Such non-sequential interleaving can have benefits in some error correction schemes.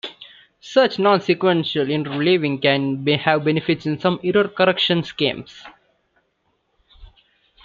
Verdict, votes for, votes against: rejected, 1, 3